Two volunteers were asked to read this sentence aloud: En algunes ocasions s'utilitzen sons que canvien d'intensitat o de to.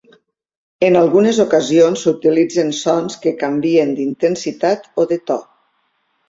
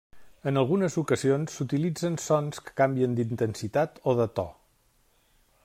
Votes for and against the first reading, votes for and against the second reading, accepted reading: 3, 0, 1, 2, first